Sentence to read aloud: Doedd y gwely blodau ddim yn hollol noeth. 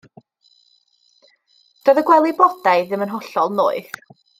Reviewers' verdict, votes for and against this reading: accepted, 2, 0